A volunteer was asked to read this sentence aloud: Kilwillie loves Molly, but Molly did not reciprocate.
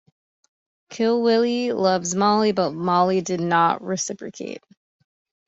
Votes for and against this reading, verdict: 2, 0, accepted